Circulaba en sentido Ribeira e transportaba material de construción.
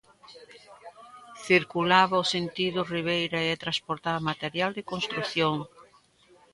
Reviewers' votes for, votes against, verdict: 0, 2, rejected